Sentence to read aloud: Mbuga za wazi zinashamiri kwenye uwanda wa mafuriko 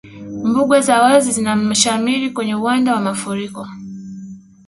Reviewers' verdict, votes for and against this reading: rejected, 1, 2